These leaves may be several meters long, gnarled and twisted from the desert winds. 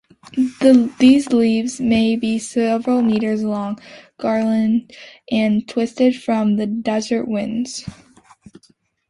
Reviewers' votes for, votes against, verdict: 0, 2, rejected